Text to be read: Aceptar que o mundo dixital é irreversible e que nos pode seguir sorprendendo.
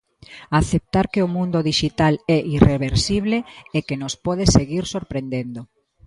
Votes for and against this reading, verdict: 2, 0, accepted